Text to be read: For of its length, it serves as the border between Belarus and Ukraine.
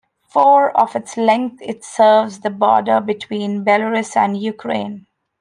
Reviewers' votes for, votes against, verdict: 0, 2, rejected